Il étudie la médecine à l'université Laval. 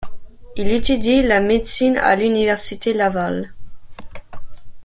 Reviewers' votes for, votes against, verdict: 2, 0, accepted